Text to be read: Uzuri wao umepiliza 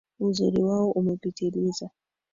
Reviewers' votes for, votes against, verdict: 3, 2, accepted